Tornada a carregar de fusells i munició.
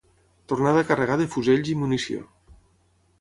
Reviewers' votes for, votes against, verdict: 6, 0, accepted